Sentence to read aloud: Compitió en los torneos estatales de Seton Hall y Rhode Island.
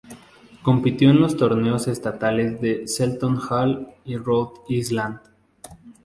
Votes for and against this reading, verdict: 4, 2, accepted